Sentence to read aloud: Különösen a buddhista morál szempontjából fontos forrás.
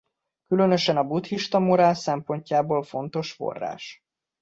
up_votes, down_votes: 2, 0